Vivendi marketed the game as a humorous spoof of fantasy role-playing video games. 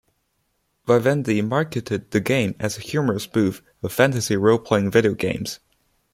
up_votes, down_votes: 1, 2